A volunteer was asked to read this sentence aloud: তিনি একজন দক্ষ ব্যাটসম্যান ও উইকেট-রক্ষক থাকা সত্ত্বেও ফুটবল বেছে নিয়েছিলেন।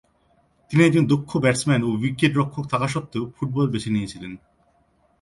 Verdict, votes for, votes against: accepted, 2, 0